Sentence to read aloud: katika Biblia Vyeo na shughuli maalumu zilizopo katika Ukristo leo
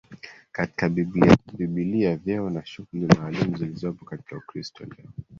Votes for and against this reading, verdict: 3, 1, accepted